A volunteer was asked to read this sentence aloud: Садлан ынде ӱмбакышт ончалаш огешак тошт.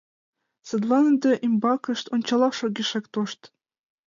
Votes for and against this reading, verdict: 2, 1, accepted